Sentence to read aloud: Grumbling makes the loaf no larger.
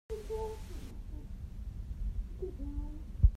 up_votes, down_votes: 0, 2